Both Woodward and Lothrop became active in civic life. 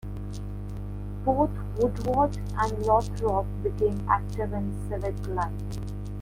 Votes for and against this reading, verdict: 2, 0, accepted